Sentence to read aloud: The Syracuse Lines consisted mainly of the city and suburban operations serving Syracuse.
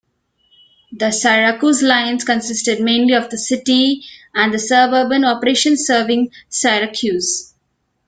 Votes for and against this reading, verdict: 1, 2, rejected